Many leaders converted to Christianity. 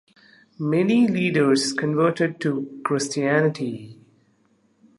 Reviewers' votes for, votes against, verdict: 2, 1, accepted